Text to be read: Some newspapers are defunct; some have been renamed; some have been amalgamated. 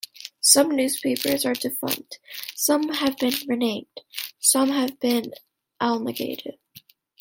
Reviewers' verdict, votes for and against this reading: rejected, 1, 2